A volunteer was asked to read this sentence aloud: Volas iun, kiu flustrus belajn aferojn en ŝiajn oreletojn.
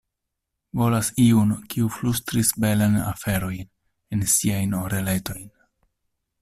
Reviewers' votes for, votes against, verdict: 0, 2, rejected